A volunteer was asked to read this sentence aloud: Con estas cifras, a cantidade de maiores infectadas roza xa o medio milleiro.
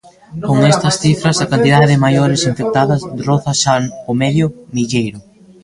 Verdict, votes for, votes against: rejected, 0, 2